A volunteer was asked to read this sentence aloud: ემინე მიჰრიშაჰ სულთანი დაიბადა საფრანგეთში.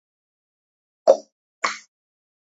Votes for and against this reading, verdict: 2, 1, accepted